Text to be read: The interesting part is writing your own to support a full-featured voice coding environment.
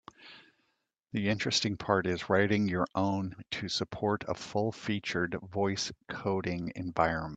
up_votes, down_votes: 2, 0